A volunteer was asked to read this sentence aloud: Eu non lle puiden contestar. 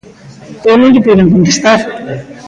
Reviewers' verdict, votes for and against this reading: rejected, 1, 2